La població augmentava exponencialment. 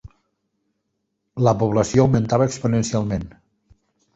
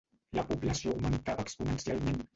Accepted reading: first